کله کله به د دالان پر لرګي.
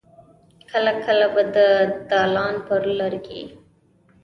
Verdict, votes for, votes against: rejected, 1, 2